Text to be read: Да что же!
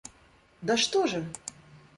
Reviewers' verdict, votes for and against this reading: accepted, 2, 0